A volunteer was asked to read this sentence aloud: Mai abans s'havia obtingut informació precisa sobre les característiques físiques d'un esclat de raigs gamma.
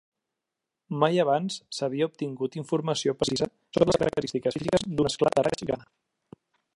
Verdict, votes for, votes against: rejected, 0, 2